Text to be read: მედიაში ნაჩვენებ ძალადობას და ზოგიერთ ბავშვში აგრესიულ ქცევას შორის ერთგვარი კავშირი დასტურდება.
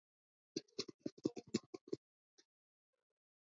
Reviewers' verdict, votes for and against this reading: accepted, 2, 1